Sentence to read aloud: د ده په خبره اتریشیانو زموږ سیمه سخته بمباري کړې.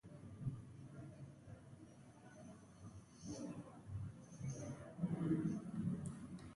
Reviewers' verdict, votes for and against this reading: rejected, 0, 2